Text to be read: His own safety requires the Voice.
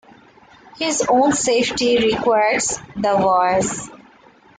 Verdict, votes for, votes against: accepted, 2, 1